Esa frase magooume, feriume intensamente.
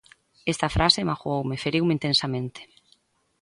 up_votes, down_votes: 2, 1